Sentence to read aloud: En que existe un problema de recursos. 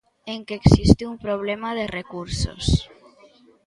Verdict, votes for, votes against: accepted, 2, 0